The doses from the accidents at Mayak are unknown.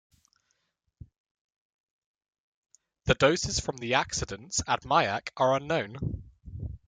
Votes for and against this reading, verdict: 2, 0, accepted